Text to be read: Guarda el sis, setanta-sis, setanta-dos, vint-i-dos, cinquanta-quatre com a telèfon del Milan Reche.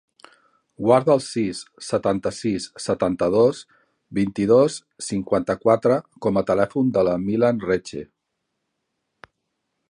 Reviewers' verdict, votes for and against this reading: rejected, 0, 2